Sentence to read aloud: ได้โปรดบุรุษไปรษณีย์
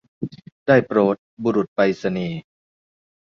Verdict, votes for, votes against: accepted, 2, 0